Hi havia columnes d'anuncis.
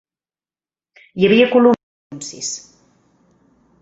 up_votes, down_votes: 0, 4